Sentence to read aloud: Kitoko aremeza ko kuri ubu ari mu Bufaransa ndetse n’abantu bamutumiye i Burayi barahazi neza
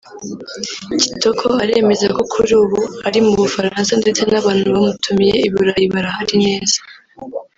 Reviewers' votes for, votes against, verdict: 1, 2, rejected